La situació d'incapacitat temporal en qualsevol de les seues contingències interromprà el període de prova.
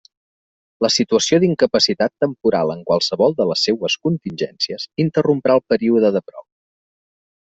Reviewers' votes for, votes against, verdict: 2, 0, accepted